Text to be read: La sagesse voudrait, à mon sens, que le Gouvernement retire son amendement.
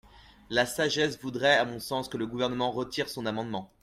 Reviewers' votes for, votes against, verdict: 2, 0, accepted